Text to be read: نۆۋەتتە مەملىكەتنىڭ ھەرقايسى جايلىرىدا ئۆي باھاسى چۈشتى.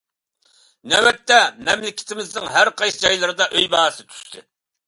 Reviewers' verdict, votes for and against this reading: rejected, 0, 2